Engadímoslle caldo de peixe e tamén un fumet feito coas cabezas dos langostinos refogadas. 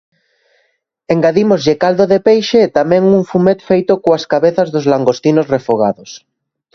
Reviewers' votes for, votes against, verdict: 1, 2, rejected